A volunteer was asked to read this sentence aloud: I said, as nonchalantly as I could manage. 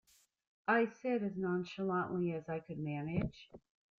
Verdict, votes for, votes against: accepted, 2, 0